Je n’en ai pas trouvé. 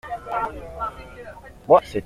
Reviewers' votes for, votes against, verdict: 0, 2, rejected